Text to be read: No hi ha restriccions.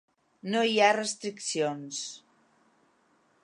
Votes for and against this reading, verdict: 3, 0, accepted